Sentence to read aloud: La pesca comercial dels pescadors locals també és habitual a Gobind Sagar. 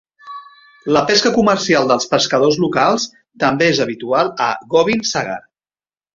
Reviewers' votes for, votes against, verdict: 3, 1, accepted